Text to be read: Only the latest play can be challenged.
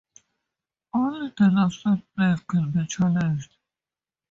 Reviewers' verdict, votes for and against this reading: rejected, 0, 2